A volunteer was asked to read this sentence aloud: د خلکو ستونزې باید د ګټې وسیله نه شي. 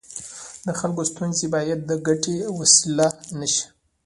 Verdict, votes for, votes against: rejected, 0, 2